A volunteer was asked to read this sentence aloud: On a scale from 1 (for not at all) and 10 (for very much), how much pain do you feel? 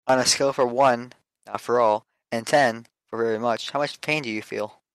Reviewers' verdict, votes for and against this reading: rejected, 0, 2